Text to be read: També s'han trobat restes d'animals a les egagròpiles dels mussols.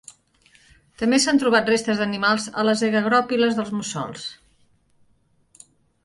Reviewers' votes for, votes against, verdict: 2, 0, accepted